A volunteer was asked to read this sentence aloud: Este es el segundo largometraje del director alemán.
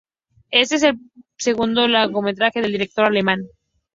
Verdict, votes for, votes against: accepted, 4, 0